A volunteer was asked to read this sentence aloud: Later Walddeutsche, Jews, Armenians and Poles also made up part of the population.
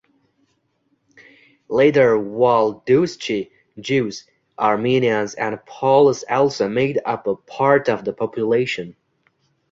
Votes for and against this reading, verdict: 0, 2, rejected